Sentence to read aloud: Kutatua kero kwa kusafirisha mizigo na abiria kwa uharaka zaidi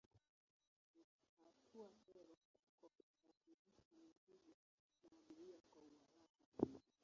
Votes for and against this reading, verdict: 0, 2, rejected